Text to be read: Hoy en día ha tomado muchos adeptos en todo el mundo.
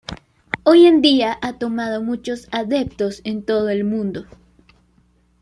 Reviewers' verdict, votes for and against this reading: accepted, 2, 0